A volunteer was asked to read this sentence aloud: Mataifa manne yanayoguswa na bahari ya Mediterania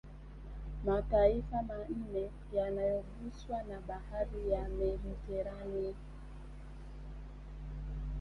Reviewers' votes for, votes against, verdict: 0, 2, rejected